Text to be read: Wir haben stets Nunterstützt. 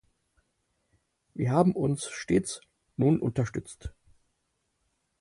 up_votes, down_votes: 4, 6